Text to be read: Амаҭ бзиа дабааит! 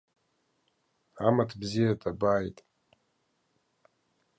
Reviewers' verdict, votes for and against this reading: accepted, 2, 0